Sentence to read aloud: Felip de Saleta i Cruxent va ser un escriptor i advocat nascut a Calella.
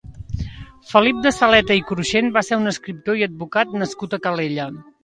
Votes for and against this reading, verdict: 2, 0, accepted